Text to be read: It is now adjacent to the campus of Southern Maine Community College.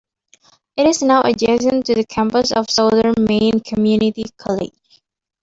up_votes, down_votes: 1, 2